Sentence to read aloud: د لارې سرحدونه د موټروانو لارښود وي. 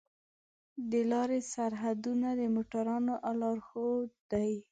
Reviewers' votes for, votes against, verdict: 1, 2, rejected